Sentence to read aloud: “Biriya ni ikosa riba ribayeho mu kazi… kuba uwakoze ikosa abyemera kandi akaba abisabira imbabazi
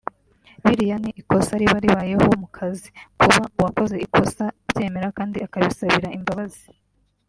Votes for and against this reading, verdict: 2, 0, accepted